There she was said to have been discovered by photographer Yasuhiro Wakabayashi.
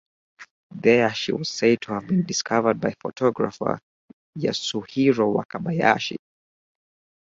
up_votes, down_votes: 4, 0